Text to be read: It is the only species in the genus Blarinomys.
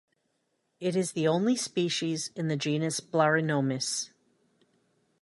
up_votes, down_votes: 2, 0